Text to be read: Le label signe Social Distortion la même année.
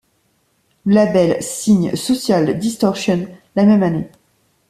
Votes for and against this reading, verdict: 1, 2, rejected